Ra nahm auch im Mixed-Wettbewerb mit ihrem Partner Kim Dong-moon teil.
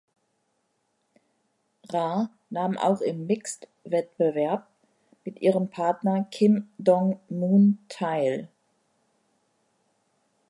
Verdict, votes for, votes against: accepted, 2, 0